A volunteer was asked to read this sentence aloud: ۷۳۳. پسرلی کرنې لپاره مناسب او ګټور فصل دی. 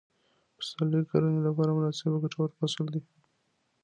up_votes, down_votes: 0, 2